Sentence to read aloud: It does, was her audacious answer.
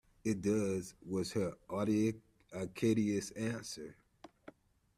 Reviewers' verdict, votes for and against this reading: rejected, 0, 2